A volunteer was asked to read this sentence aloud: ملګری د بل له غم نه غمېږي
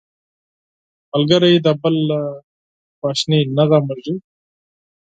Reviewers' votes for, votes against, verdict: 0, 4, rejected